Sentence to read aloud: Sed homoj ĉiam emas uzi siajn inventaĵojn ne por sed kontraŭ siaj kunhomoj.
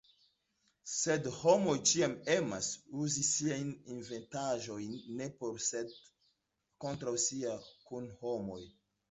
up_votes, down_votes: 2, 1